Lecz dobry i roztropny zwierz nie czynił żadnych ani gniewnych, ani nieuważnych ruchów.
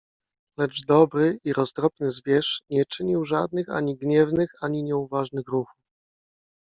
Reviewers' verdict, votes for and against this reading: rejected, 1, 2